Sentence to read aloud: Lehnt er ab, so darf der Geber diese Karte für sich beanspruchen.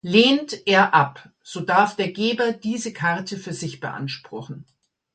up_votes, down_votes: 3, 0